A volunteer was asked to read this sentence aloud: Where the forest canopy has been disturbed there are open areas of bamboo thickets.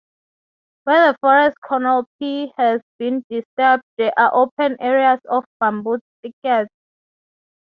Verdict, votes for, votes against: accepted, 3, 0